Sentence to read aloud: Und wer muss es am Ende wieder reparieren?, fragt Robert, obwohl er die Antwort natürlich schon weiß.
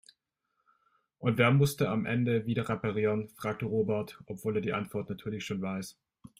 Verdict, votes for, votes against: rejected, 0, 2